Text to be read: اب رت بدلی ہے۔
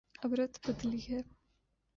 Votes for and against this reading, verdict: 2, 0, accepted